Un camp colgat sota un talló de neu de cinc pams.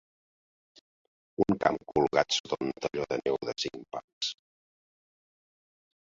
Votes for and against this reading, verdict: 1, 7, rejected